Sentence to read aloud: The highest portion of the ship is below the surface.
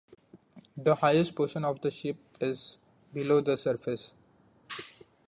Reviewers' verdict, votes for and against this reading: accepted, 2, 0